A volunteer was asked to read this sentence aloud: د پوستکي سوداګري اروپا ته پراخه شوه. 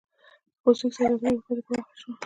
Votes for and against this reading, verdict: 0, 2, rejected